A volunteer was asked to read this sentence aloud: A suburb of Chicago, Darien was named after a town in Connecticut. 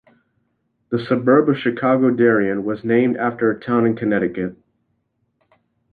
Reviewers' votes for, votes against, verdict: 1, 2, rejected